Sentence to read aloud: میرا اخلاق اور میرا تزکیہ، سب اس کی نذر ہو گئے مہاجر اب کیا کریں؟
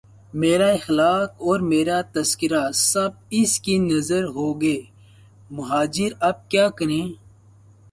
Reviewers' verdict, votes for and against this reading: rejected, 2, 4